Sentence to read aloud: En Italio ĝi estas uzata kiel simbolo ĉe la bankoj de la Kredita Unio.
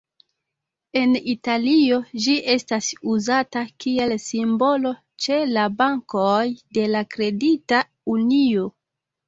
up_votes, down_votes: 2, 0